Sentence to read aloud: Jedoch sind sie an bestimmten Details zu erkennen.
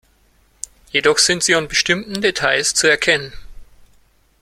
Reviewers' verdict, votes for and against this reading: accepted, 2, 0